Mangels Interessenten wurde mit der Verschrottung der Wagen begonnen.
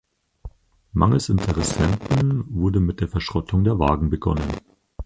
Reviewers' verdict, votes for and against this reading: accepted, 4, 2